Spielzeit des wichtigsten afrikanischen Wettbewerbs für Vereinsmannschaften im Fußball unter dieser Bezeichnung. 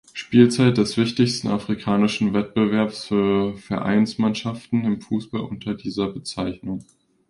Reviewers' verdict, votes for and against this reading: accepted, 2, 0